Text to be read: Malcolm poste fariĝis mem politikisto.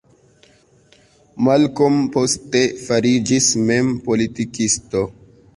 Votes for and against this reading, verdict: 1, 2, rejected